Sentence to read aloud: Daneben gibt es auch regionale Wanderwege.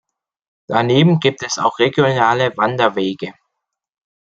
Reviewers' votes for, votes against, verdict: 2, 0, accepted